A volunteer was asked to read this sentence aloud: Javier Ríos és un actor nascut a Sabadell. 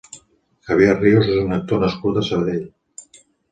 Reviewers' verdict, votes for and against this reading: accepted, 3, 0